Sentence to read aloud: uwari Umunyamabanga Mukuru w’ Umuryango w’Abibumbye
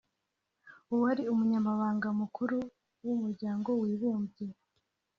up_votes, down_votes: 0, 2